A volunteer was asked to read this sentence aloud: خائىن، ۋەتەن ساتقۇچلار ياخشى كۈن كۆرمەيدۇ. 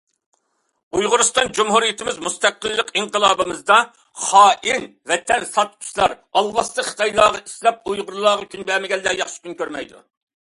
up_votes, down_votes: 0, 2